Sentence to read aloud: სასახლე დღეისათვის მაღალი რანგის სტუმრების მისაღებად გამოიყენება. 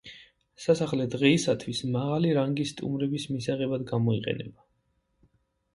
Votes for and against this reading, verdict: 2, 0, accepted